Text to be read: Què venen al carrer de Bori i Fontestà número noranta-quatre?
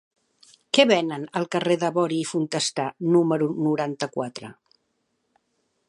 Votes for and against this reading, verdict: 3, 0, accepted